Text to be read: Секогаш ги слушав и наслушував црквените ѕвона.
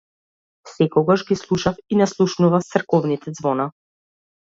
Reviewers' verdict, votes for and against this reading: rejected, 1, 2